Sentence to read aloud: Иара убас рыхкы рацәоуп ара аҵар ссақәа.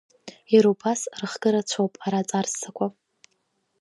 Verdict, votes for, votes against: accepted, 3, 1